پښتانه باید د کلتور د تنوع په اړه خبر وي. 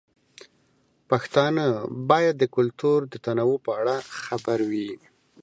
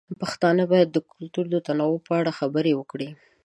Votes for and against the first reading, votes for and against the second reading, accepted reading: 2, 0, 0, 2, first